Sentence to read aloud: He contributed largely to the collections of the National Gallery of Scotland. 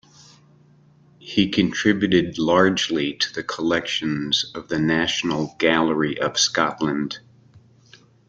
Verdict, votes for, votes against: accepted, 3, 0